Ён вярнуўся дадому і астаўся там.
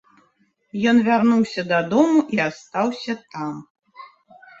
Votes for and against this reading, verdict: 2, 0, accepted